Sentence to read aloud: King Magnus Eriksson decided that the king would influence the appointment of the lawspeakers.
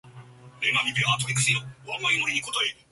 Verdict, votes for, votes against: rejected, 0, 2